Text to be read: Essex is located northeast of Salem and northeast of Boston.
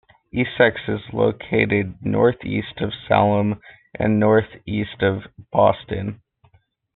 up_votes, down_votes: 2, 1